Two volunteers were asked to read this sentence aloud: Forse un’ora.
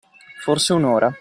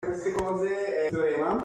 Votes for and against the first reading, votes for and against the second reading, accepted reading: 2, 0, 0, 2, first